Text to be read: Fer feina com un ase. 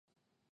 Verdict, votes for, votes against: rejected, 0, 2